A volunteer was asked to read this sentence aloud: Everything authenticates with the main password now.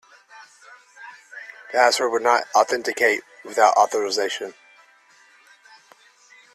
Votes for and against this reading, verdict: 0, 2, rejected